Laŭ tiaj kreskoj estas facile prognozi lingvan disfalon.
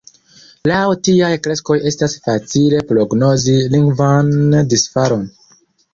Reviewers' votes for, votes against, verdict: 1, 2, rejected